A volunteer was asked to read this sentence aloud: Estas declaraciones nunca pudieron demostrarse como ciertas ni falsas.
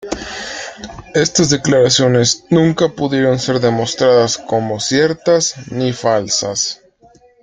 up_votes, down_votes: 0, 2